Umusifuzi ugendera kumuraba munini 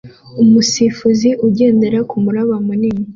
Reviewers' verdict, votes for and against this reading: accepted, 2, 0